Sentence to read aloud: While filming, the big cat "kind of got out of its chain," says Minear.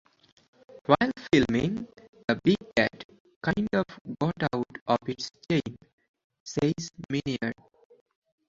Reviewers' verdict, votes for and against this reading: rejected, 0, 4